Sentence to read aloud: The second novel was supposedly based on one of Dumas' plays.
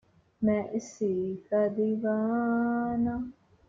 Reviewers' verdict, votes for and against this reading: rejected, 0, 2